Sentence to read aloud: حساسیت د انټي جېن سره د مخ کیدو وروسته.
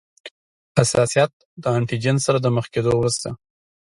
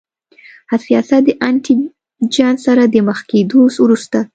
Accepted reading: first